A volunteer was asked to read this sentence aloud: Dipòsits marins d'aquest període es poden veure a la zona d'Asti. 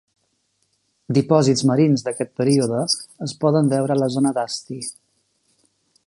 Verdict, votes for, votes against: rejected, 2, 3